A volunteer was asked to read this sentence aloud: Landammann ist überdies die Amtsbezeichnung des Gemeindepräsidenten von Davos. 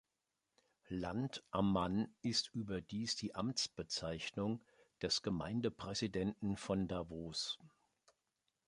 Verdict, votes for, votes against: accepted, 2, 0